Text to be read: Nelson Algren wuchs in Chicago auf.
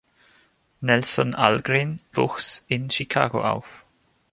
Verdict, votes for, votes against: accepted, 3, 1